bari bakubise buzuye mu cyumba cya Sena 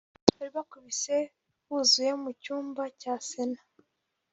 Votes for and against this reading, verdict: 0, 2, rejected